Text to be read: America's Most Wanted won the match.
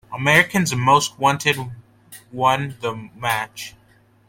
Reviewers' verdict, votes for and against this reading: rejected, 1, 2